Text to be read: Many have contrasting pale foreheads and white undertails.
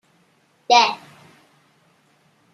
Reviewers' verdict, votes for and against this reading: rejected, 0, 2